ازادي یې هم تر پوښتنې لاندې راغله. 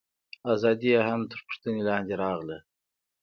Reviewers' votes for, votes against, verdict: 2, 0, accepted